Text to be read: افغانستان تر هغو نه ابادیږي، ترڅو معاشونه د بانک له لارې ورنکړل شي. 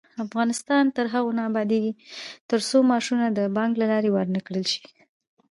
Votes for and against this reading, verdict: 1, 2, rejected